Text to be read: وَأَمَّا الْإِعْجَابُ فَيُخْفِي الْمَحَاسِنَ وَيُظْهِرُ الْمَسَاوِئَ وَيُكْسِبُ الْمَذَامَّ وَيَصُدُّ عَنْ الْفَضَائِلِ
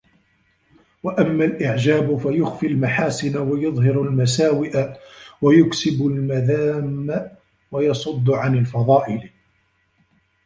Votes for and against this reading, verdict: 1, 2, rejected